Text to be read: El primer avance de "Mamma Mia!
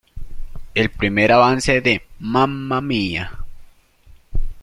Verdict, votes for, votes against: accepted, 2, 0